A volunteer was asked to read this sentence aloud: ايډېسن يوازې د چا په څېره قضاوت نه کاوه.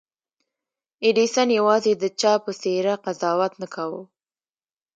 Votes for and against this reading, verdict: 0, 2, rejected